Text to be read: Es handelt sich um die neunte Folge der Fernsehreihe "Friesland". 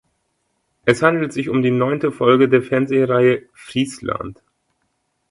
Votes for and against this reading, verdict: 2, 0, accepted